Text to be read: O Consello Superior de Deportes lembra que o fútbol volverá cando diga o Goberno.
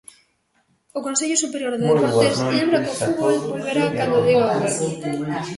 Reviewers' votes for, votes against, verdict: 0, 2, rejected